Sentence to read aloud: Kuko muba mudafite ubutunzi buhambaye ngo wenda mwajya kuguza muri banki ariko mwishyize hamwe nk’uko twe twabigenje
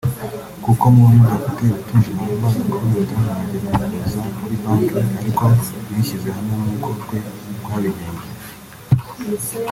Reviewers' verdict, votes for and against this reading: rejected, 2, 3